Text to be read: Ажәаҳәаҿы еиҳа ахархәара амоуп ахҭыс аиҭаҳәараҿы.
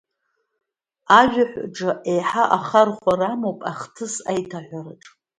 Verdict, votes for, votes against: accepted, 2, 0